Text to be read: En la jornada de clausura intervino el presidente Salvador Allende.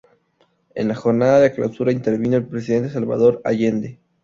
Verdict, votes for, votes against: rejected, 0, 2